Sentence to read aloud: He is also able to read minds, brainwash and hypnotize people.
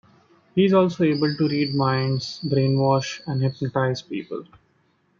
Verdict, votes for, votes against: accepted, 2, 1